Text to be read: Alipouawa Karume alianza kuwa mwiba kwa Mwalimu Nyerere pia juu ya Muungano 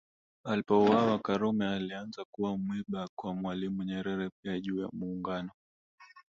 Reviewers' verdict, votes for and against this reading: rejected, 1, 2